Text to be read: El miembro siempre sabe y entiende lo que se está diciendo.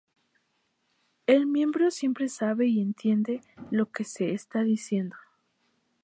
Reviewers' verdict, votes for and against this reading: accepted, 2, 0